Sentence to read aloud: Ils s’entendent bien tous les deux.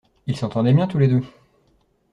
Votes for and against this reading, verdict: 1, 2, rejected